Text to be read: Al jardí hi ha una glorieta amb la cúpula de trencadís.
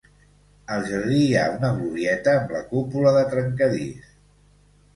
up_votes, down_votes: 2, 0